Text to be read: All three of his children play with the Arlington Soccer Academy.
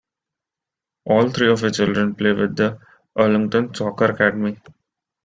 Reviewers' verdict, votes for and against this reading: rejected, 1, 2